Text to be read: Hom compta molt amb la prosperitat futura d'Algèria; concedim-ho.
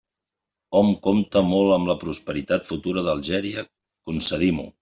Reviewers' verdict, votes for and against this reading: accepted, 3, 0